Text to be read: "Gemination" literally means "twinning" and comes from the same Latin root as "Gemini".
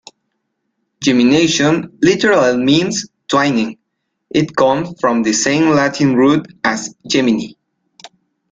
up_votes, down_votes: 1, 2